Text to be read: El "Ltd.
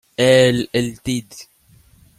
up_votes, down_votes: 2, 0